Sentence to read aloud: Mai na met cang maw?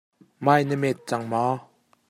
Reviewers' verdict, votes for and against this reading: accepted, 2, 0